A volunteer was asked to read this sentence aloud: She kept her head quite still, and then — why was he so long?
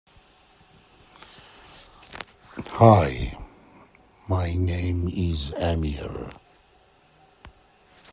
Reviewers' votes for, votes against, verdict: 0, 2, rejected